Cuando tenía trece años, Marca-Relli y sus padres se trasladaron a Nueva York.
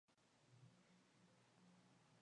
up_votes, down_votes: 0, 2